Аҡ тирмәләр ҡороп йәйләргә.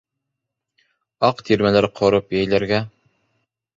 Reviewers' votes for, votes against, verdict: 3, 0, accepted